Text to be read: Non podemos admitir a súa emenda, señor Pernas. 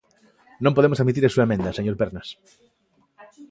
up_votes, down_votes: 2, 1